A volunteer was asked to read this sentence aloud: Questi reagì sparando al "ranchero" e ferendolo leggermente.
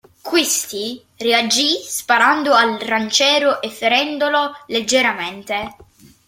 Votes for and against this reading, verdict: 0, 2, rejected